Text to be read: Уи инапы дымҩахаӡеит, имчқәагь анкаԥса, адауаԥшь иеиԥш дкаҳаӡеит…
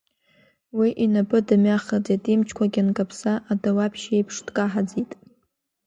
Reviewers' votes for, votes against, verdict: 0, 2, rejected